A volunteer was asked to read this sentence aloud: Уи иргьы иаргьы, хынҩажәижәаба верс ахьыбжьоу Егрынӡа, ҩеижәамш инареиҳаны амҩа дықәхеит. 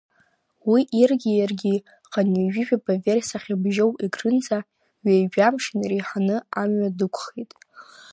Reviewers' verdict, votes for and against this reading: accepted, 2, 0